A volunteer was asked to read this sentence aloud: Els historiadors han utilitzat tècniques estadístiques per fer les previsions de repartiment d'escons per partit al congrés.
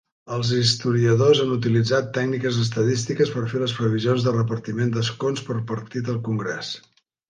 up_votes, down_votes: 4, 0